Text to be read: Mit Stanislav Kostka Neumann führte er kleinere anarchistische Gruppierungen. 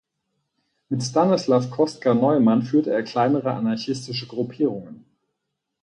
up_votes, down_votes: 4, 0